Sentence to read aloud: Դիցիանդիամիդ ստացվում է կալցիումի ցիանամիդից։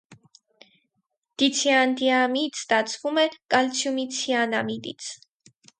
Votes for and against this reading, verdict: 0, 4, rejected